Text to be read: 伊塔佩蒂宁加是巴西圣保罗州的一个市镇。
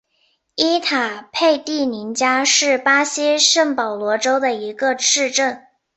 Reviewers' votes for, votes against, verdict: 2, 1, accepted